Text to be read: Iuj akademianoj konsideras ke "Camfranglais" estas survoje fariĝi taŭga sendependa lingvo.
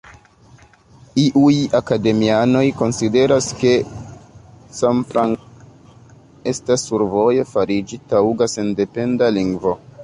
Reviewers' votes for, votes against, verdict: 1, 2, rejected